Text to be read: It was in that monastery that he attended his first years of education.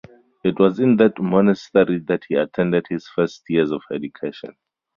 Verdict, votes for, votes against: rejected, 0, 2